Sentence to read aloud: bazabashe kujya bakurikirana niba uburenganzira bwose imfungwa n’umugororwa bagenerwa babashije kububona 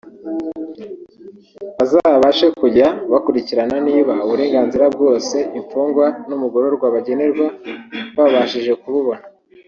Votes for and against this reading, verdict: 1, 2, rejected